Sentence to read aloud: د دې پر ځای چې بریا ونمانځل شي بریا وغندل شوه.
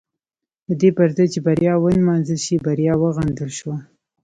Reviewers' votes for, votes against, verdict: 1, 2, rejected